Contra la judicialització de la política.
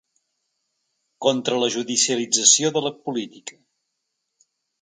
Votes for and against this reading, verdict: 3, 0, accepted